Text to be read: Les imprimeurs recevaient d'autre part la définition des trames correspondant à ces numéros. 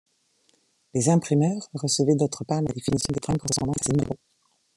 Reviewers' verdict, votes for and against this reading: rejected, 0, 2